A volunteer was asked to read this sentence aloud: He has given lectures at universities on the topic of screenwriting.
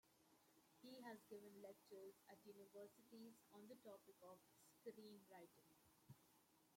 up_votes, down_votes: 1, 2